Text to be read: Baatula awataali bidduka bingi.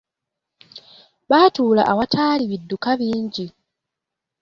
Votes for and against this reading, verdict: 2, 1, accepted